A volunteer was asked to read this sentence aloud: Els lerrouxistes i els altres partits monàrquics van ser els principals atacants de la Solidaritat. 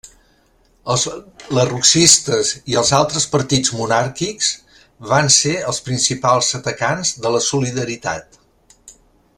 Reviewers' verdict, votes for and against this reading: accepted, 2, 0